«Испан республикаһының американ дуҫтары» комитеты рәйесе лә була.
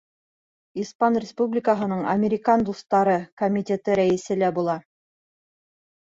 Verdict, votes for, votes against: accepted, 2, 0